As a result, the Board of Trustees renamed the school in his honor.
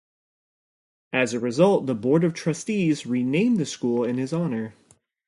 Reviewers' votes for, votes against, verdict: 2, 0, accepted